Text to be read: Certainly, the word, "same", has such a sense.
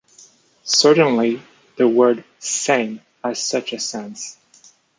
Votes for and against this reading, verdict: 2, 1, accepted